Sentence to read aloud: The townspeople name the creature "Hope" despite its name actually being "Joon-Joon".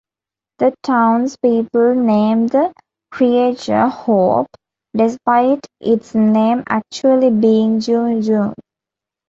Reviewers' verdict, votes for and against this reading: rejected, 0, 2